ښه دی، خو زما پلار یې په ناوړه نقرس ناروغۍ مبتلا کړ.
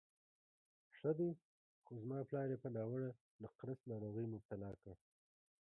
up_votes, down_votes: 1, 2